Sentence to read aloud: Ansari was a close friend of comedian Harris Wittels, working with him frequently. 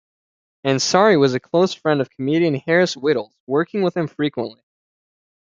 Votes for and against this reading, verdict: 1, 2, rejected